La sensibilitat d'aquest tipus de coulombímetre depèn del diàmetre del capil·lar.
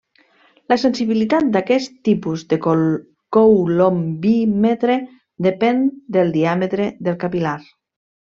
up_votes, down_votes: 1, 2